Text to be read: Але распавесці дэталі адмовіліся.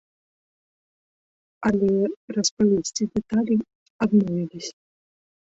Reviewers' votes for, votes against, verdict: 2, 3, rejected